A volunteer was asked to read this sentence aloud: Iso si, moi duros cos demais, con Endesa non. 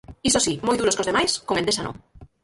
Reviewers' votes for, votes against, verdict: 0, 4, rejected